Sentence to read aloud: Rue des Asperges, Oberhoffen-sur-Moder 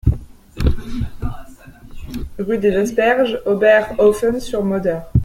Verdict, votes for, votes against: accepted, 2, 0